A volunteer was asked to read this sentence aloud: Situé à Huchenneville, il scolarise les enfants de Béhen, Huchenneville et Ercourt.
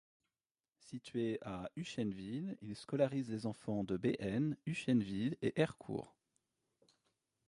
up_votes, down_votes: 0, 2